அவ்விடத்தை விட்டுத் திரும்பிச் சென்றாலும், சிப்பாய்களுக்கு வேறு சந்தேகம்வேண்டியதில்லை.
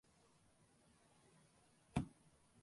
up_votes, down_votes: 0, 2